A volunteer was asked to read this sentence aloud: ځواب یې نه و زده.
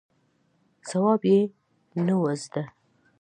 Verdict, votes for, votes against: accepted, 2, 0